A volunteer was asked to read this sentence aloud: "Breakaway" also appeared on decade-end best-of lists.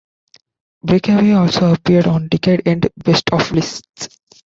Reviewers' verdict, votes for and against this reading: accepted, 2, 1